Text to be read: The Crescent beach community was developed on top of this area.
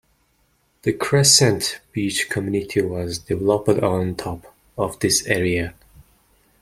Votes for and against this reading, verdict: 1, 2, rejected